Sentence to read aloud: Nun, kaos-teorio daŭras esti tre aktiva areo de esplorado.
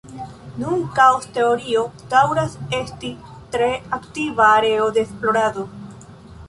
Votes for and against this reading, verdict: 2, 0, accepted